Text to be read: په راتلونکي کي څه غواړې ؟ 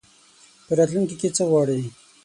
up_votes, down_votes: 6, 0